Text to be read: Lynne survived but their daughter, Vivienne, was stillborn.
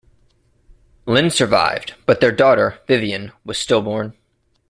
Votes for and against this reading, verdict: 2, 0, accepted